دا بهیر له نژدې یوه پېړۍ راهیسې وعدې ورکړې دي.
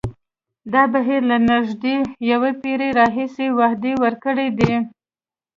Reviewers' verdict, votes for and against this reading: accepted, 2, 0